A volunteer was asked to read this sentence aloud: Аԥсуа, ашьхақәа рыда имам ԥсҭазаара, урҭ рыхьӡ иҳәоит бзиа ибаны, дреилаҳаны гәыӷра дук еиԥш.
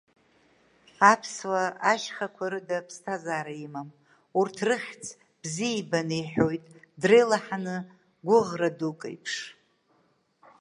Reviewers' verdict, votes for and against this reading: rejected, 0, 2